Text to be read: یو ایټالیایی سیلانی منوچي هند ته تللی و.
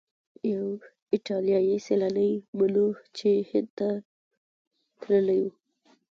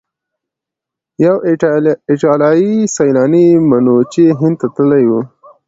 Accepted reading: second